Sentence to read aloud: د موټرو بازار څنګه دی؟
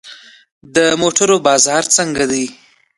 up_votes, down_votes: 1, 2